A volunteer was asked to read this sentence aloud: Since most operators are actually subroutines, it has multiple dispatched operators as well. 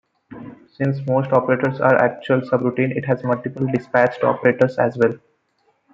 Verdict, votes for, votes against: accepted, 2, 0